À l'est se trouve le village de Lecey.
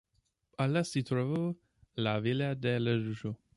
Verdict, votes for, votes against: rejected, 0, 2